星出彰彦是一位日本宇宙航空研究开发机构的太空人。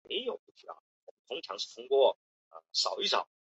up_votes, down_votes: 0, 2